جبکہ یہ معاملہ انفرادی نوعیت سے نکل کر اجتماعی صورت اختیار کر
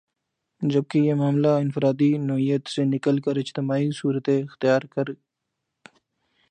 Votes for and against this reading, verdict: 6, 1, accepted